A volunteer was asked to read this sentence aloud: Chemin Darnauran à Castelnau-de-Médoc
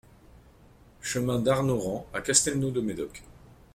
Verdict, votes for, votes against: accepted, 2, 0